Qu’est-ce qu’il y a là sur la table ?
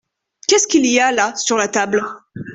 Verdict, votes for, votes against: accepted, 2, 0